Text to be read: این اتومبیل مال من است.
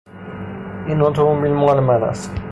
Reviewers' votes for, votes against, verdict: 3, 3, rejected